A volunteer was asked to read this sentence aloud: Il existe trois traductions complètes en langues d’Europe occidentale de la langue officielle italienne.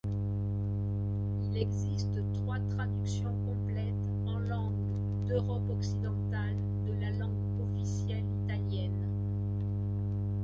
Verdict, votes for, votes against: accepted, 2, 1